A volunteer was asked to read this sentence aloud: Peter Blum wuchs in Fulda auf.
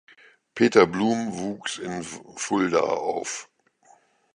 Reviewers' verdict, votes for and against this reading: rejected, 0, 2